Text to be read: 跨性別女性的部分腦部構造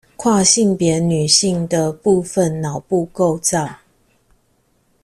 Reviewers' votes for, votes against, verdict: 2, 0, accepted